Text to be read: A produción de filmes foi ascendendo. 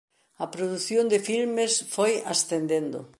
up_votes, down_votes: 2, 0